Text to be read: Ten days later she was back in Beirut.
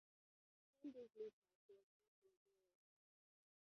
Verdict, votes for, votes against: rejected, 0, 2